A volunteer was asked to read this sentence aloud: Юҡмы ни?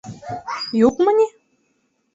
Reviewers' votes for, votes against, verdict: 1, 2, rejected